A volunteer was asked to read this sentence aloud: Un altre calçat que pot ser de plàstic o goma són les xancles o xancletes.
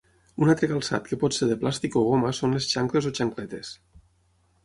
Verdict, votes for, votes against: accepted, 6, 0